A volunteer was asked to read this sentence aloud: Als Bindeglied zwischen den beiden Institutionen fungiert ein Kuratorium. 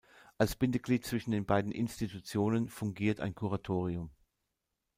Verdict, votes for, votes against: accepted, 2, 0